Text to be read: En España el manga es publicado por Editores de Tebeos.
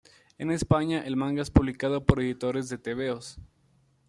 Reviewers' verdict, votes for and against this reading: accepted, 2, 0